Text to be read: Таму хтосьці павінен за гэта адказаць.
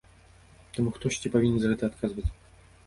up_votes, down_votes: 1, 2